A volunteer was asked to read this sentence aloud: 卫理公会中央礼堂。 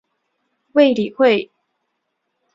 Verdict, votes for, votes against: rejected, 0, 4